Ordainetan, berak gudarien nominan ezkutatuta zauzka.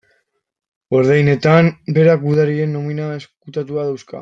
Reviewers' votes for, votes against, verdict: 0, 2, rejected